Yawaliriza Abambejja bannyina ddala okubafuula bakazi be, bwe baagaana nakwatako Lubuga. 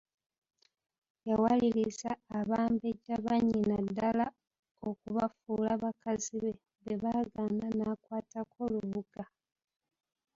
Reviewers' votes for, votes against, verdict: 2, 1, accepted